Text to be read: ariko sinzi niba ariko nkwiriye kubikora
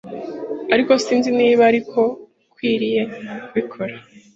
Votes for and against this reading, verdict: 3, 0, accepted